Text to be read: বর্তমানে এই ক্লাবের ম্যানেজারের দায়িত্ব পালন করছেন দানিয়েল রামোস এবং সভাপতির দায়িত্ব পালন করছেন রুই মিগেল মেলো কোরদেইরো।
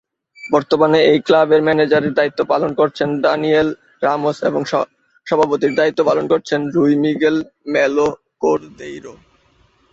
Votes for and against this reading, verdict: 0, 3, rejected